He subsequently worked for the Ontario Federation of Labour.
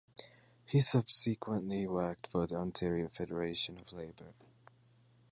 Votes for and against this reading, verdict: 0, 2, rejected